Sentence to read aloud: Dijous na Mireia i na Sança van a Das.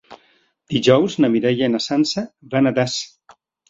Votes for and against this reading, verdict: 4, 0, accepted